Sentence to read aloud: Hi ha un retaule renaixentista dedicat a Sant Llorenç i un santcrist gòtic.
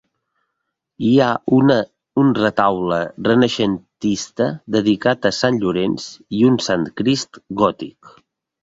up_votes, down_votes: 1, 2